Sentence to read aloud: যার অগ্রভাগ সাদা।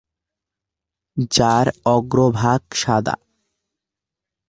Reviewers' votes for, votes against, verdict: 2, 0, accepted